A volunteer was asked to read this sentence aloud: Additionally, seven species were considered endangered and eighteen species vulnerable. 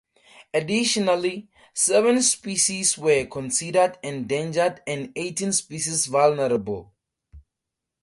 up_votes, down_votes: 4, 0